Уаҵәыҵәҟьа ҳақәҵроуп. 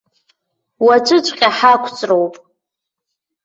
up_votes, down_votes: 1, 2